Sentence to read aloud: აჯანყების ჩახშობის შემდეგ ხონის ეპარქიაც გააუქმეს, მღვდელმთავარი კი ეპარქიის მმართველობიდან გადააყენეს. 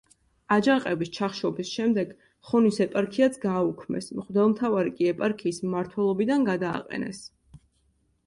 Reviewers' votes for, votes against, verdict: 2, 0, accepted